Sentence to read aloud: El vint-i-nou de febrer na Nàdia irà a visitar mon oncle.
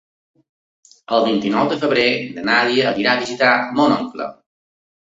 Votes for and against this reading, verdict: 2, 0, accepted